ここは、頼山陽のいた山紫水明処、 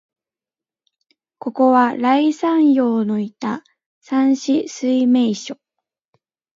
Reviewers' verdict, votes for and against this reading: accepted, 2, 0